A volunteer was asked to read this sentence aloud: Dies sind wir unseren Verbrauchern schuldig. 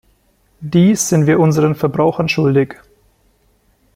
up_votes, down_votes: 2, 0